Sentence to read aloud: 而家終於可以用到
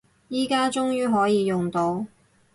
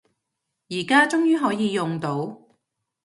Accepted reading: second